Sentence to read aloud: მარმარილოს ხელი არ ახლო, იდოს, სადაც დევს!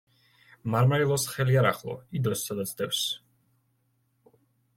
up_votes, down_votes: 1, 2